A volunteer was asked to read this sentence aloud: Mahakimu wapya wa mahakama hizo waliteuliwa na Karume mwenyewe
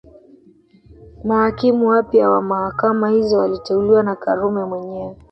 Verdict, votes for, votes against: rejected, 0, 2